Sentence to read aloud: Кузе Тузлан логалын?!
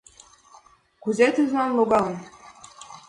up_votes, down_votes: 2, 0